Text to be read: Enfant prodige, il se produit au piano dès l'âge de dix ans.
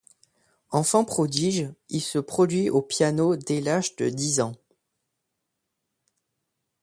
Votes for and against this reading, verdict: 2, 0, accepted